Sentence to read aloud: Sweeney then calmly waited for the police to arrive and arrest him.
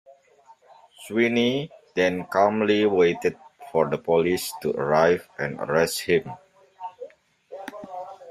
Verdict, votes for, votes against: accepted, 2, 1